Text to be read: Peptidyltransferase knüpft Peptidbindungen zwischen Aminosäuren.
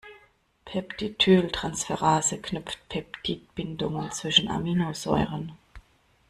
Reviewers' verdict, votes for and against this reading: accepted, 2, 0